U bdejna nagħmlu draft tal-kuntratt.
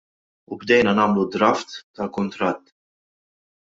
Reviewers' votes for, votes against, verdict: 2, 0, accepted